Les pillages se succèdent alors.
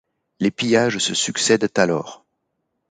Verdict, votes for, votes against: accepted, 2, 0